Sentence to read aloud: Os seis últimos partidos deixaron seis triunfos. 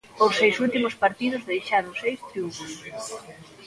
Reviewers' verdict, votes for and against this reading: accepted, 2, 0